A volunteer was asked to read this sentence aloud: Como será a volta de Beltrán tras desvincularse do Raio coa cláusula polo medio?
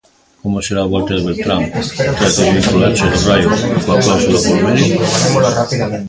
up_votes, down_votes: 0, 2